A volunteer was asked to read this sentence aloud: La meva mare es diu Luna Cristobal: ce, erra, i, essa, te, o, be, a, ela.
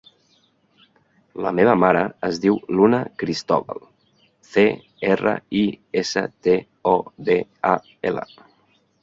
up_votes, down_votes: 0, 3